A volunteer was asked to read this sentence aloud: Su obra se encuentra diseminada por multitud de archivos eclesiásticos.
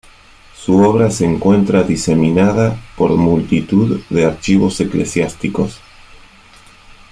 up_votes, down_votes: 1, 2